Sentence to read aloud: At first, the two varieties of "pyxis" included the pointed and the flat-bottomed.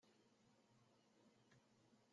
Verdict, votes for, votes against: rejected, 0, 2